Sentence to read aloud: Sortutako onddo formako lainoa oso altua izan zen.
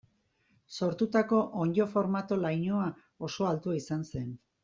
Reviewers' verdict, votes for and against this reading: accepted, 2, 0